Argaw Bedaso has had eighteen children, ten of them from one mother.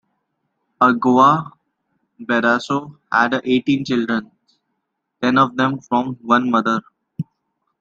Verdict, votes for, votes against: rejected, 0, 2